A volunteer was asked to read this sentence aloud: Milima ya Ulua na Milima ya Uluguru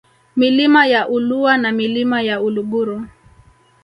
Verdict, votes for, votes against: accepted, 2, 0